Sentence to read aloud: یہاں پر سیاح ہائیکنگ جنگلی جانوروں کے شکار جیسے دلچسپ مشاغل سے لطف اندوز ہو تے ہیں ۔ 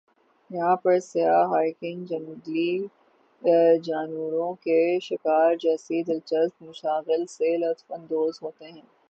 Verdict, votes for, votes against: rejected, 0, 6